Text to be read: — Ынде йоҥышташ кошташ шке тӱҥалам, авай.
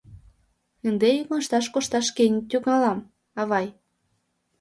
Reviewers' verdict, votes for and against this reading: rejected, 1, 2